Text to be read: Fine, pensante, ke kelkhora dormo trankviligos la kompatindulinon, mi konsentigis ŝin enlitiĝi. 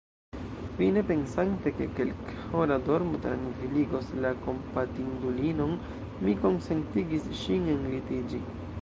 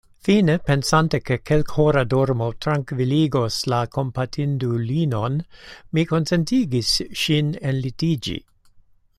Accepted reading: second